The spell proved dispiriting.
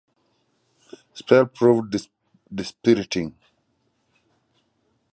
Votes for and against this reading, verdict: 0, 2, rejected